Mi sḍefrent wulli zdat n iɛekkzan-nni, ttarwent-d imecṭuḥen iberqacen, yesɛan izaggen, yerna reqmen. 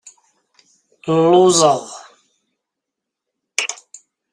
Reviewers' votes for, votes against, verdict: 0, 2, rejected